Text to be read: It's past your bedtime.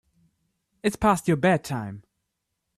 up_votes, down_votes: 2, 0